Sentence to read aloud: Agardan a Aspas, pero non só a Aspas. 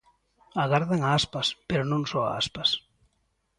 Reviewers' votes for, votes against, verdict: 2, 0, accepted